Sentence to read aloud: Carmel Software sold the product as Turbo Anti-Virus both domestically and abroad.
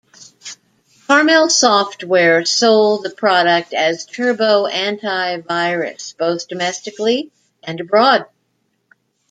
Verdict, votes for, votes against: accepted, 2, 1